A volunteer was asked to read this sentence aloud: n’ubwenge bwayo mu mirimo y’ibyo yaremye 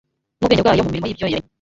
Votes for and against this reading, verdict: 0, 2, rejected